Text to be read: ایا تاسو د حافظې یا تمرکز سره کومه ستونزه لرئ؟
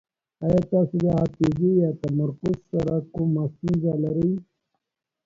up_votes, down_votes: 1, 2